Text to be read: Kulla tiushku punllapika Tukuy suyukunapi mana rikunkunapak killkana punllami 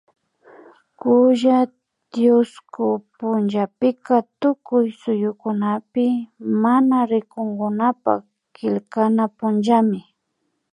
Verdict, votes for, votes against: accepted, 2, 0